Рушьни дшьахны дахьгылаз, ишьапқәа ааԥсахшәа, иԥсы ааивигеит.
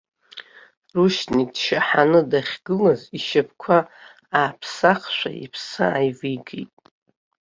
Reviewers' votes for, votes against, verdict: 1, 2, rejected